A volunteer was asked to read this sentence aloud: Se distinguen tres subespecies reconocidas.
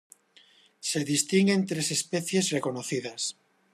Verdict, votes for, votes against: rejected, 0, 2